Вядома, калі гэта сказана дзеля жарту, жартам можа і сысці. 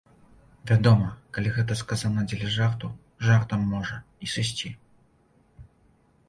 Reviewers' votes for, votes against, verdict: 2, 0, accepted